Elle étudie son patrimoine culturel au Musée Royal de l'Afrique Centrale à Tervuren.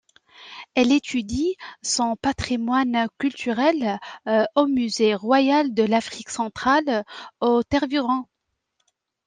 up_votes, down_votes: 1, 2